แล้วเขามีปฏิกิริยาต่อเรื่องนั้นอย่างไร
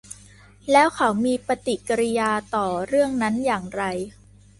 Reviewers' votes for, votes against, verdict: 2, 0, accepted